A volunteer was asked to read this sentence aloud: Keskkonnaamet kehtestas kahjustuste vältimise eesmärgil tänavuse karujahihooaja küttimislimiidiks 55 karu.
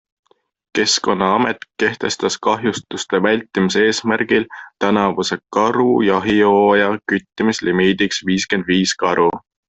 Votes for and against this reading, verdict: 0, 2, rejected